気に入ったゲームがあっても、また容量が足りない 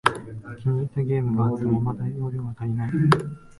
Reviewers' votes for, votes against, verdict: 1, 2, rejected